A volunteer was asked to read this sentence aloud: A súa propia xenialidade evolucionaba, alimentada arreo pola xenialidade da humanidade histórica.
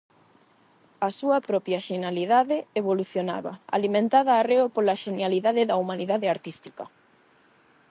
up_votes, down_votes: 0, 8